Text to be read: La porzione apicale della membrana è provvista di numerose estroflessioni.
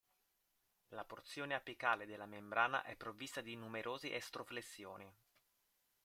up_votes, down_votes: 1, 2